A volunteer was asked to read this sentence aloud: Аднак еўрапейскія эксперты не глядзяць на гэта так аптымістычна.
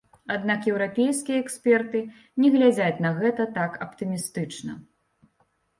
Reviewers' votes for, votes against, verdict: 1, 2, rejected